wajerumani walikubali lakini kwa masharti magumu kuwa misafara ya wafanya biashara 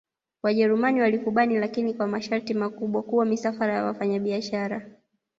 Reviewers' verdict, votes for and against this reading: rejected, 1, 2